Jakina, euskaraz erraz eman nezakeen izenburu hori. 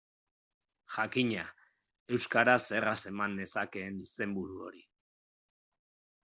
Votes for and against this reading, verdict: 2, 0, accepted